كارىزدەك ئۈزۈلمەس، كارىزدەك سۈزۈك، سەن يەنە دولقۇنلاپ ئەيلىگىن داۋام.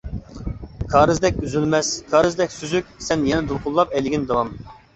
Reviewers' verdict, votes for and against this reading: accepted, 2, 0